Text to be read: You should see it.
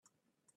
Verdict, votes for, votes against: rejected, 0, 2